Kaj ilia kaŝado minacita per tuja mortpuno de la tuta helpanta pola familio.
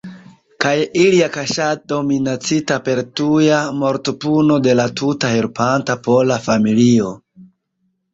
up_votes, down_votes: 0, 2